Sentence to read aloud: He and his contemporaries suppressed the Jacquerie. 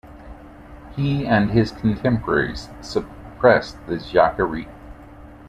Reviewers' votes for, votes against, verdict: 2, 0, accepted